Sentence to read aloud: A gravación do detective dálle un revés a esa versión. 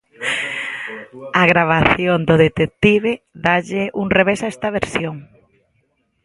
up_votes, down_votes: 0, 2